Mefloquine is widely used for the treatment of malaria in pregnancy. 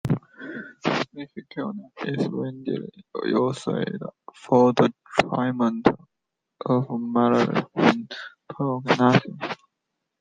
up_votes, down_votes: 0, 2